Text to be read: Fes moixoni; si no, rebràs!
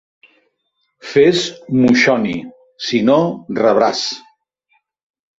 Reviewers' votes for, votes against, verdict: 7, 2, accepted